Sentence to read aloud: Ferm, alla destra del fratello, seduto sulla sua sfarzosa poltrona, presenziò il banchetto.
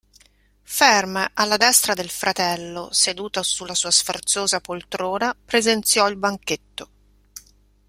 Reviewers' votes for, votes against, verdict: 2, 0, accepted